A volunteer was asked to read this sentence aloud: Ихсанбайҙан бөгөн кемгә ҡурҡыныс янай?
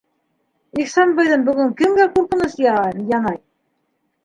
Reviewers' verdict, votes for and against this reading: rejected, 1, 2